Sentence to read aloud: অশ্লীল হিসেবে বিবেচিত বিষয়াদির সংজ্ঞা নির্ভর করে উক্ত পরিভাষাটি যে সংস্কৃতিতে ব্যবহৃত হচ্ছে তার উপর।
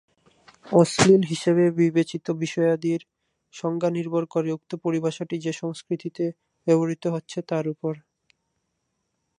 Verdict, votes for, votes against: rejected, 2, 2